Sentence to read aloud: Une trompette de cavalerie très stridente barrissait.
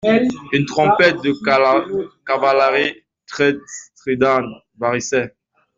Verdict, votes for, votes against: rejected, 0, 2